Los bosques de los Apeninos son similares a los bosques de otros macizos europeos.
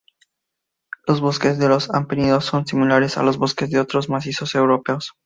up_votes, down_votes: 2, 0